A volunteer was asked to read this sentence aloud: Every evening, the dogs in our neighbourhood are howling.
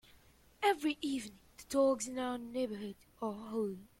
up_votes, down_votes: 0, 3